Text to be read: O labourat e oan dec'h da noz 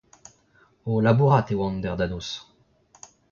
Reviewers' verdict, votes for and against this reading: rejected, 1, 2